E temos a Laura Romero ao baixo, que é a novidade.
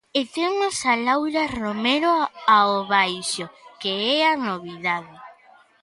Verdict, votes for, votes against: accepted, 2, 1